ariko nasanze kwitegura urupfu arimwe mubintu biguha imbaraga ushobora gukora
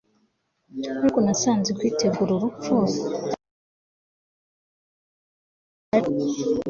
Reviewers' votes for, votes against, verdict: 2, 3, rejected